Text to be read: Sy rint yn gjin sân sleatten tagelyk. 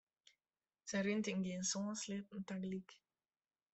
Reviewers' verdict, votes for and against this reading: accepted, 2, 1